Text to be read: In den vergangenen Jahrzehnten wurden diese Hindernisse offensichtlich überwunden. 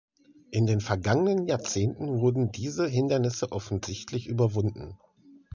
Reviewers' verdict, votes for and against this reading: accepted, 3, 0